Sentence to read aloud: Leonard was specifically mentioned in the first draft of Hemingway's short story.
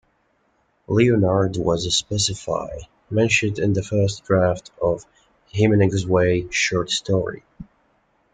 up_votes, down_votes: 1, 2